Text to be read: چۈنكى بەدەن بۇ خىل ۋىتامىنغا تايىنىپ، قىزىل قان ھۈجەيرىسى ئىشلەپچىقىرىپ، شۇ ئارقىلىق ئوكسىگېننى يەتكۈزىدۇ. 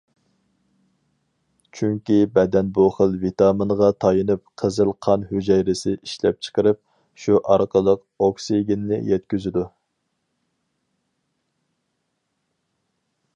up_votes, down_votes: 4, 0